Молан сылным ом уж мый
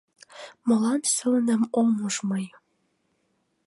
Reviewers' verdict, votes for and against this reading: accepted, 2, 0